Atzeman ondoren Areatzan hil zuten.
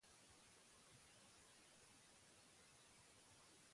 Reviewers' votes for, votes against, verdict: 0, 4, rejected